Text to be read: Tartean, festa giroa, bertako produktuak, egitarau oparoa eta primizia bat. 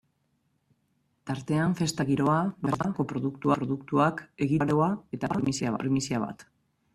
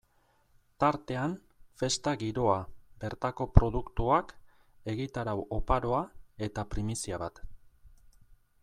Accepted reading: second